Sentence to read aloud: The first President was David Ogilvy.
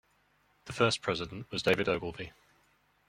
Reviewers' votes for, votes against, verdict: 2, 1, accepted